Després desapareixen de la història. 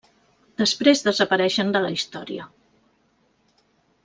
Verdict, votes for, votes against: accepted, 3, 0